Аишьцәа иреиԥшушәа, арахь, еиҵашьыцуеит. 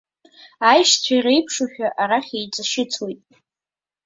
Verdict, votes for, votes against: accepted, 2, 1